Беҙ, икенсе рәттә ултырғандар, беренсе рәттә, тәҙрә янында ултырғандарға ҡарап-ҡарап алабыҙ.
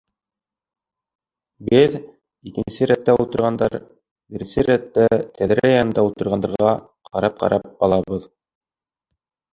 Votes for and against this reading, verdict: 2, 1, accepted